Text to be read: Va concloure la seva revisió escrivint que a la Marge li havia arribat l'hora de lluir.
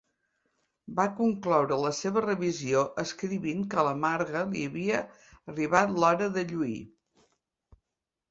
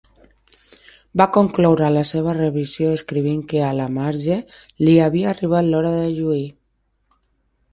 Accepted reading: second